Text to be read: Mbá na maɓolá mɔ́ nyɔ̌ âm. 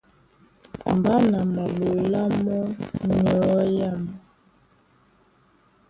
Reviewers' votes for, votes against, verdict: 0, 2, rejected